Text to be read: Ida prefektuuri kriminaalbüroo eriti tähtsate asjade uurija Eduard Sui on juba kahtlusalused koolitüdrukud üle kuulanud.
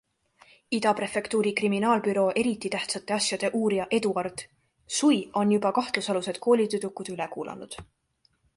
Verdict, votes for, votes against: accepted, 2, 1